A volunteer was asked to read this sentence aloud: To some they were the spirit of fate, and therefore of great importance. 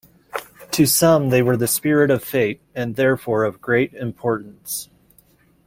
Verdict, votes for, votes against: accepted, 2, 1